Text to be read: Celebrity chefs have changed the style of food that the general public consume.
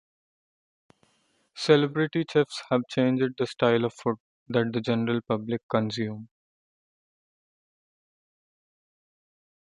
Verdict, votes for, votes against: accepted, 2, 0